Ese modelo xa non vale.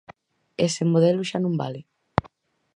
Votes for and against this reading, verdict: 4, 0, accepted